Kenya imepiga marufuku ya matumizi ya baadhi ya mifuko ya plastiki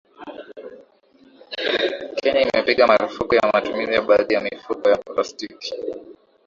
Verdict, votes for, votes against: accepted, 2, 1